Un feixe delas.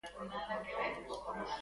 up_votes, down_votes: 0, 3